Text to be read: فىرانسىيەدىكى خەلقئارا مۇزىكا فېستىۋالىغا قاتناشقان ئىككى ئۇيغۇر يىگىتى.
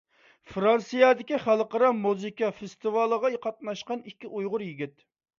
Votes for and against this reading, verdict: 0, 2, rejected